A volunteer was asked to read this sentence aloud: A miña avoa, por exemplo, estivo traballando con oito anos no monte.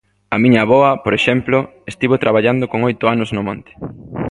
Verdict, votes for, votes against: accepted, 2, 0